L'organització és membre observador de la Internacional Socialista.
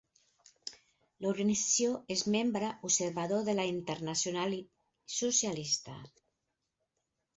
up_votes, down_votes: 4, 2